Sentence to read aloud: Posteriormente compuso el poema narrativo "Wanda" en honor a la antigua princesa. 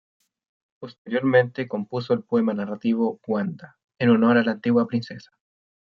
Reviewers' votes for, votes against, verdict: 2, 0, accepted